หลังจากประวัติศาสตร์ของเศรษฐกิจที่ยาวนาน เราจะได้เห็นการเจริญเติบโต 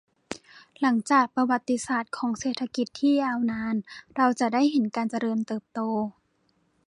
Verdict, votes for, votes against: accepted, 2, 0